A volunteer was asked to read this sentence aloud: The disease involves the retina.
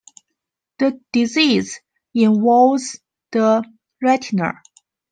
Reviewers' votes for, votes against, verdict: 2, 0, accepted